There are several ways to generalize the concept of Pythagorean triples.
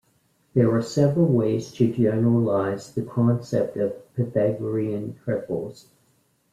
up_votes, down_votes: 2, 0